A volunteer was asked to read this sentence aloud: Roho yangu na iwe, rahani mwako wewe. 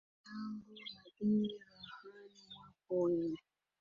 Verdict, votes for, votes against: rejected, 0, 7